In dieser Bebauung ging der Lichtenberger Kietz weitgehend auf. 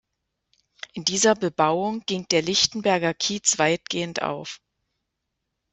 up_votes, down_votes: 2, 0